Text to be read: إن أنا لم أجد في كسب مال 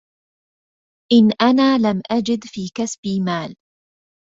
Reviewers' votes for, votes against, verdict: 0, 2, rejected